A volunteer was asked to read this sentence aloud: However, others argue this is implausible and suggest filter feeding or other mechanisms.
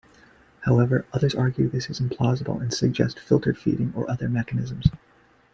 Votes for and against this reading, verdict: 2, 1, accepted